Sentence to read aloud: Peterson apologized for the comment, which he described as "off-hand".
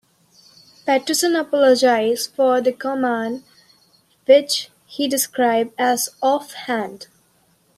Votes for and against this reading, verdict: 2, 1, accepted